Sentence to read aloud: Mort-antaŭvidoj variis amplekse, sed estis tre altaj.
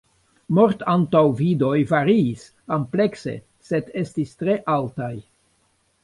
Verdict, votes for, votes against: rejected, 1, 2